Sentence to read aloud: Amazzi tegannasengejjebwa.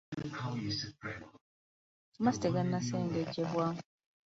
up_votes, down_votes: 1, 2